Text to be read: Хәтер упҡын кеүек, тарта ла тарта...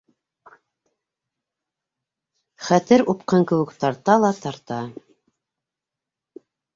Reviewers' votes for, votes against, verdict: 2, 0, accepted